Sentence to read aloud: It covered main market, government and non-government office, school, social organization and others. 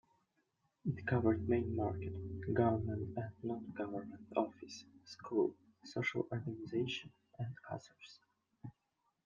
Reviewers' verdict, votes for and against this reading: rejected, 1, 2